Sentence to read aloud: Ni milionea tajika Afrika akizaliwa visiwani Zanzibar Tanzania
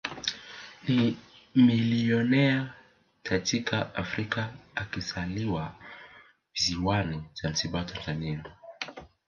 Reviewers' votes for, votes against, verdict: 1, 2, rejected